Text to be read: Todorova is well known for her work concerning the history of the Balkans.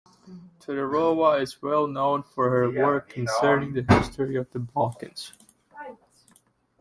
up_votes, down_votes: 2, 1